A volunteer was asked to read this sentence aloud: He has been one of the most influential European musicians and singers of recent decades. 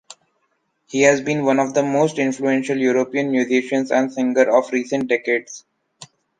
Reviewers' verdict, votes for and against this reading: accepted, 2, 1